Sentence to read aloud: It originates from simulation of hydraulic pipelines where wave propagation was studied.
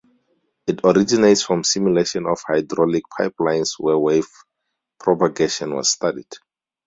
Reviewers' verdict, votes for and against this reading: rejected, 0, 4